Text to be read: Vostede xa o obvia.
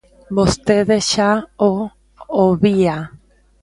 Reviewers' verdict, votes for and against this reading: rejected, 0, 2